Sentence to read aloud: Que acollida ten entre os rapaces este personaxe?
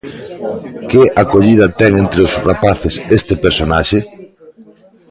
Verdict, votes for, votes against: accepted, 2, 1